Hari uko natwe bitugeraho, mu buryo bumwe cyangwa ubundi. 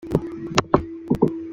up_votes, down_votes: 0, 2